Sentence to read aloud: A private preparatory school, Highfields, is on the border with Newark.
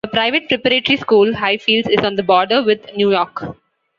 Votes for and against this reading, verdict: 2, 1, accepted